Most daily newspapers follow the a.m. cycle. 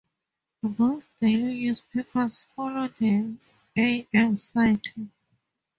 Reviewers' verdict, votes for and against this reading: accepted, 2, 0